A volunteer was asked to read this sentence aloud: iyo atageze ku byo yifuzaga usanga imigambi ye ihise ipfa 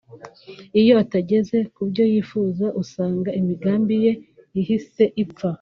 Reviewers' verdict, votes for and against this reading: rejected, 1, 2